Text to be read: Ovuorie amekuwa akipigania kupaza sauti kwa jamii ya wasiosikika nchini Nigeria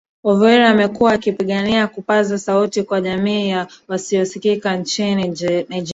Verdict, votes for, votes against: rejected, 1, 2